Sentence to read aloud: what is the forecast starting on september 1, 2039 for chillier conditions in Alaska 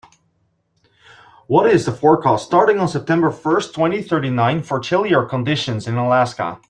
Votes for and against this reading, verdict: 0, 2, rejected